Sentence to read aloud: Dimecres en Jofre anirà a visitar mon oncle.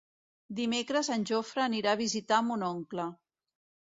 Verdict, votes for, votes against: accepted, 2, 0